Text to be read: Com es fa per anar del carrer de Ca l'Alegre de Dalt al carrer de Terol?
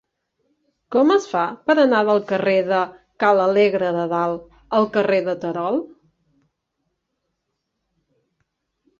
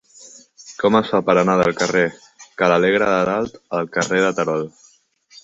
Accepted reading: first